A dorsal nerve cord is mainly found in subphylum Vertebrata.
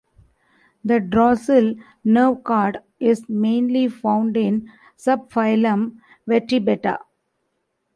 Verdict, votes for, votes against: rejected, 0, 2